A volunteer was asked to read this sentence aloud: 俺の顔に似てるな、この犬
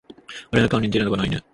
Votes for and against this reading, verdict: 1, 2, rejected